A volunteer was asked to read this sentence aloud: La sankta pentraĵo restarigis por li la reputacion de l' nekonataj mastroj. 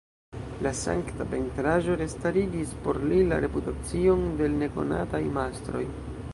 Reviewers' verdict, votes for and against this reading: rejected, 0, 3